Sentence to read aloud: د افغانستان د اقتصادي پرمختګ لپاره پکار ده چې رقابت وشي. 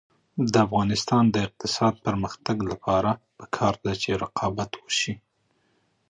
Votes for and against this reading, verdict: 3, 0, accepted